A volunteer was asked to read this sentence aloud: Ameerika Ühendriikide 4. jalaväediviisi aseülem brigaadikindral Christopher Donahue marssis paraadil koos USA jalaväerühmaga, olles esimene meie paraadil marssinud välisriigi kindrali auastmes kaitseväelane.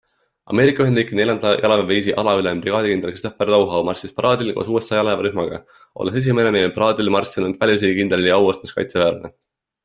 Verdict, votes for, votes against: rejected, 0, 2